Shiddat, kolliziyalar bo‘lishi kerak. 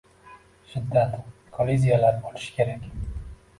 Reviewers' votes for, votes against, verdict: 1, 2, rejected